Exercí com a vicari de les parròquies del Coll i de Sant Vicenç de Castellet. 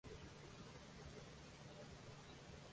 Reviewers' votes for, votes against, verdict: 0, 2, rejected